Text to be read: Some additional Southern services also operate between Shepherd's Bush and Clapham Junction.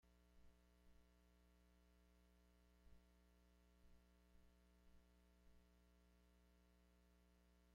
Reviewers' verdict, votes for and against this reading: rejected, 0, 2